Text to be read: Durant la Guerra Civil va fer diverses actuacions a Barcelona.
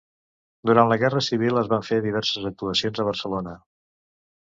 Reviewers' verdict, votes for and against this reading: rejected, 1, 2